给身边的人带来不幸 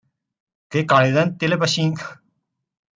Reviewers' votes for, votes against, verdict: 0, 2, rejected